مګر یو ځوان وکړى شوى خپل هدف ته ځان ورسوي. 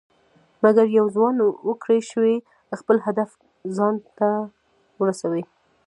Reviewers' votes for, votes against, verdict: 0, 2, rejected